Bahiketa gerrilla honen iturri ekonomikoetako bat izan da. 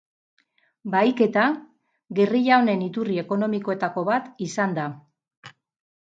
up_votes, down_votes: 4, 0